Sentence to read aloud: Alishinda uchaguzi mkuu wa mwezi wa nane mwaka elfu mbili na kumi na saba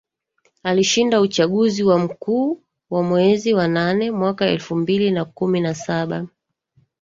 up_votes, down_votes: 1, 3